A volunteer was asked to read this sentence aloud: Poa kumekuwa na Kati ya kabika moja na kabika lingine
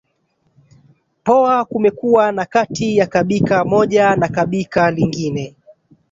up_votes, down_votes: 2, 1